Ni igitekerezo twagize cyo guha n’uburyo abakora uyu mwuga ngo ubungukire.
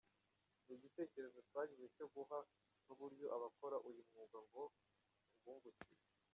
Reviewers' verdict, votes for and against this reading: rejected, 1, 2